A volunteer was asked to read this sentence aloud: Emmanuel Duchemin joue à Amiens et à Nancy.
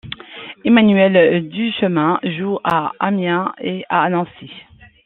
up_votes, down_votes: 2, 0